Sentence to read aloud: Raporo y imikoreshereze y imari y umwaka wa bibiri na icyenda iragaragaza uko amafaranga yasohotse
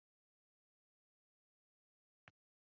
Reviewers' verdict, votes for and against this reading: rejected, 0, 2